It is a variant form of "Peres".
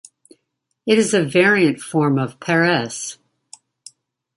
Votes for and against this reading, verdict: 0, 2, rejected